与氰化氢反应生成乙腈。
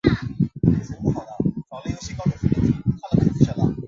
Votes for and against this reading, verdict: 0, 3, rejected